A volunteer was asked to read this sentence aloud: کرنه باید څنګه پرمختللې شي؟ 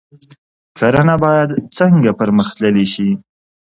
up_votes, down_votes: 2, 1